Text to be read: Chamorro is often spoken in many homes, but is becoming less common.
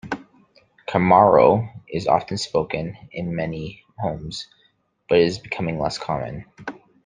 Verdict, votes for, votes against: accepted, 2, 0